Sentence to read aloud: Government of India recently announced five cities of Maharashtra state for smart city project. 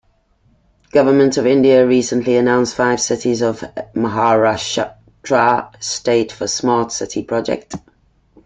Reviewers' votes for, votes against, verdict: 2, 1, accepted